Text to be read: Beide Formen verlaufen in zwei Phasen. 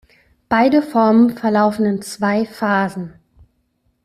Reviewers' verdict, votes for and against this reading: accepted, 2, 0